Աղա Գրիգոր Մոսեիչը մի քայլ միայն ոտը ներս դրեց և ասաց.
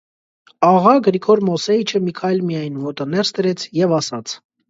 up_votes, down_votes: 2, 0